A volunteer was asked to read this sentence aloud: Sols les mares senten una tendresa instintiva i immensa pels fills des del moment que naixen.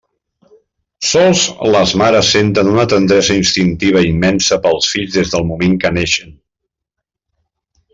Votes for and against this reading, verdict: 1, 2, rejected